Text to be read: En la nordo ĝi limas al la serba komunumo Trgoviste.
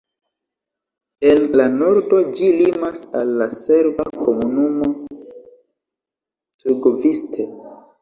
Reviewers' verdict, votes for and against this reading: accepted, 2, 0